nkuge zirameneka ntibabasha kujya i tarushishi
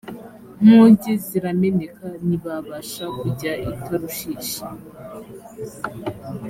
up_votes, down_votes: 2, 0